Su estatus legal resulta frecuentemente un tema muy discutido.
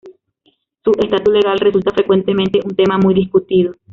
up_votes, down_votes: 1, 2